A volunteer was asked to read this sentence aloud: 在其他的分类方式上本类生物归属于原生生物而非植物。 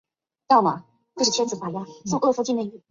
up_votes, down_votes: 1, 2